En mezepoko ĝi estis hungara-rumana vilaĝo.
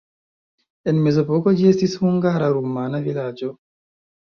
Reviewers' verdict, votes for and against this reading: accepted, 2, 0